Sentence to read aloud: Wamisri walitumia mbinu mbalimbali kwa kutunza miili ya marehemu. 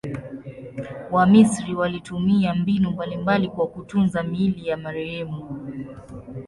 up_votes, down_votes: 2, 0